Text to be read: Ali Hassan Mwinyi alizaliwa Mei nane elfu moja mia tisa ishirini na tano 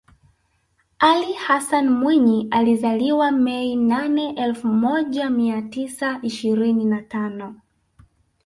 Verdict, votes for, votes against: accepted, 2, 0